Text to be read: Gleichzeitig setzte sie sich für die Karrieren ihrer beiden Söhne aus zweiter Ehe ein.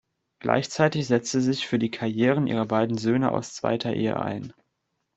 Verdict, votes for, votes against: rejected, 1, 2